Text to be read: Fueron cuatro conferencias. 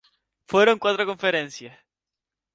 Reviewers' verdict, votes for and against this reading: accepted, 8, 2